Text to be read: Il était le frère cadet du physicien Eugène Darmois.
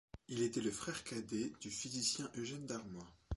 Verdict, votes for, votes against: accepted, 2, 0